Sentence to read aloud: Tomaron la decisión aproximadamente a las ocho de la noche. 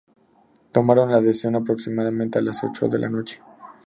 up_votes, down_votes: 4, 0